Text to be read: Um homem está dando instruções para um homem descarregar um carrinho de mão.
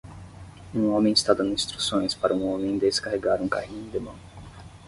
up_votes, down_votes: 5, 0